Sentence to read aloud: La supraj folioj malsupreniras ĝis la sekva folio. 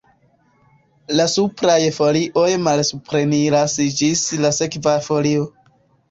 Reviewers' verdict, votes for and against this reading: accepted, 2, 0